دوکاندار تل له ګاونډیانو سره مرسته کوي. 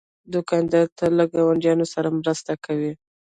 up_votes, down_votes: 1, 2